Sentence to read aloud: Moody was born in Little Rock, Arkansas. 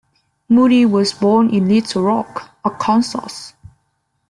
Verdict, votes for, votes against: accepted, 2, 0